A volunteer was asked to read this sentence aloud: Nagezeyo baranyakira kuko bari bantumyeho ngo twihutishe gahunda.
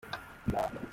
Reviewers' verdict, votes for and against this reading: rejected, 0, 2